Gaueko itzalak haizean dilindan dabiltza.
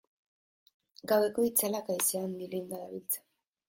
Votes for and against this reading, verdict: 1, 2, rejected